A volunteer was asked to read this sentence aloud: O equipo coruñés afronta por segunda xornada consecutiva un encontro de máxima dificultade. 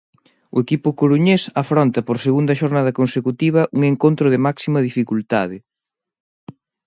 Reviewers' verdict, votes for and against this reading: accepted, 2, 0